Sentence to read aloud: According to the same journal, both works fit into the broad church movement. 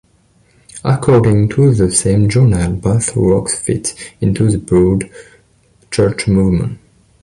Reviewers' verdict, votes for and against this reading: accepted, 2, 0